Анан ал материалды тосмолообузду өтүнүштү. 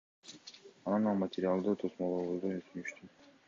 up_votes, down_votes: 2, 0